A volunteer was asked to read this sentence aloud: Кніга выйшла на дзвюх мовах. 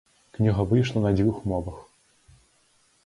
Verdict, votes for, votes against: accepted, 2, 0